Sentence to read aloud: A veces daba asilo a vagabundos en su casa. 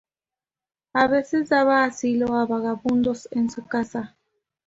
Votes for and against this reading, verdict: 2, 0, accepted